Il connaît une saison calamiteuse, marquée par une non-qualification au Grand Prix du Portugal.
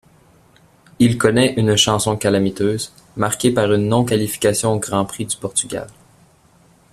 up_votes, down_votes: 0, 2